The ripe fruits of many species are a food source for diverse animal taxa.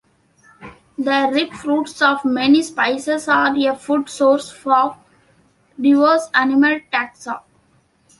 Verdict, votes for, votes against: rejected, 0, 2